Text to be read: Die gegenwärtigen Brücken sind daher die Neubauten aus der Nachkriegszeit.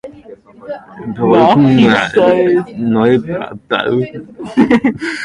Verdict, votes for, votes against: rejected, 0, 2